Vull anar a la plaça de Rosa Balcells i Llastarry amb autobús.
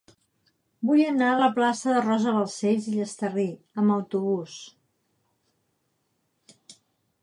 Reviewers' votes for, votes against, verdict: 2, 0, accepted